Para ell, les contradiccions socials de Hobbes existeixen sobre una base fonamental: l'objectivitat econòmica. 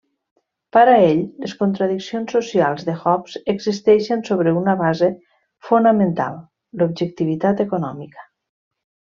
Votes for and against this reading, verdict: 2, 0, accepted